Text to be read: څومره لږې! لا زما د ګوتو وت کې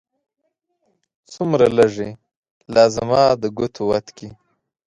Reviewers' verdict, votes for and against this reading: accepted, 2, 0